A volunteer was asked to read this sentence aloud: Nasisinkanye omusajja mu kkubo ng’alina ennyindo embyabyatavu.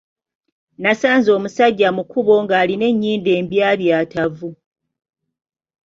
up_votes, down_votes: 2, 0